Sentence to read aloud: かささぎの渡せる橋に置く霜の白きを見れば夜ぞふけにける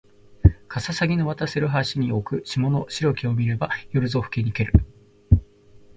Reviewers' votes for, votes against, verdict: 2, 1, accepted